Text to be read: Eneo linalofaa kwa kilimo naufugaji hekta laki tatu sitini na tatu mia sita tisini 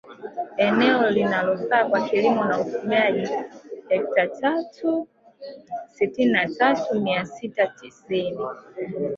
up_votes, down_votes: 2, 0